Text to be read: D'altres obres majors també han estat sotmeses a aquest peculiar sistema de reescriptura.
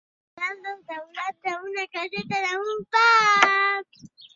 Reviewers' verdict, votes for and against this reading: rejected, 0, 2